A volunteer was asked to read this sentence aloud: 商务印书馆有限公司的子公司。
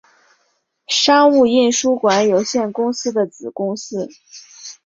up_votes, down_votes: 0, 2